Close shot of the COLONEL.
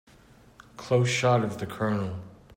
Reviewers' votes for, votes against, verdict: 2, 0, accepted